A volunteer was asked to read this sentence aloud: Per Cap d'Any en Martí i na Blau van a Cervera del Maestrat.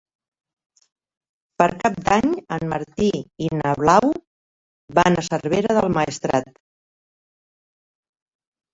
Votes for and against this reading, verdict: 4, 0, accepted